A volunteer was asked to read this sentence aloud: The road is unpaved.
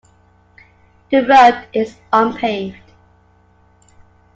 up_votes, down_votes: 2, 0